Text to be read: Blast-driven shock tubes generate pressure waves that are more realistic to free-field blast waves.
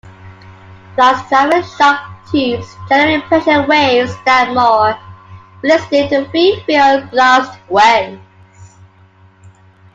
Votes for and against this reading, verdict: 0, 2, rejected